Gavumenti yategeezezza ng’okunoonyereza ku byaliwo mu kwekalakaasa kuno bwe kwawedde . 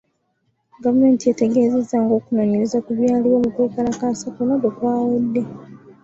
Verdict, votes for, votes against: accepted, 2, 0